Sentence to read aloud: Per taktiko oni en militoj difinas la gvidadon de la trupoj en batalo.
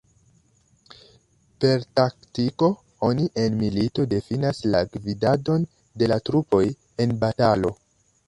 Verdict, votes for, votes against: accepted, 3, 2